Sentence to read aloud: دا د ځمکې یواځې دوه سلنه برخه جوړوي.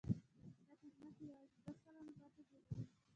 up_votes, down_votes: 2, 0